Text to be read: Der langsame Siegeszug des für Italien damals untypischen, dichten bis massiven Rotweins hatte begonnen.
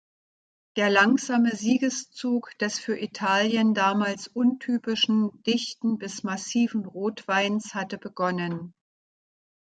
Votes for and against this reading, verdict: 2, 0, accepted